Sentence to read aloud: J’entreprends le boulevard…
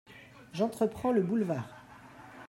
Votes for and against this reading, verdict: 2, 1, accepted